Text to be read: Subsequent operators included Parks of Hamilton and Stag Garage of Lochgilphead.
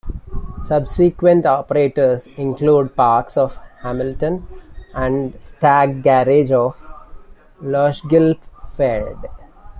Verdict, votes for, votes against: accepted, 2, 1